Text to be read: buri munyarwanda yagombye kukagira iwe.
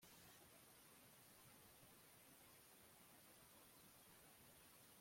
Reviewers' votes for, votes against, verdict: 0, 2, rejected